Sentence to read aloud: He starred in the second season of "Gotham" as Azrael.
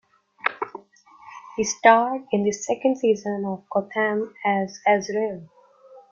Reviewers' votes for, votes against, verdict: 2, 0, accepted